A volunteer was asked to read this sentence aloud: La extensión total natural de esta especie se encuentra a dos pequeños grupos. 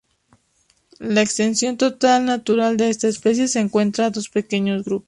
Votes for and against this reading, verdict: 0, 2, rejected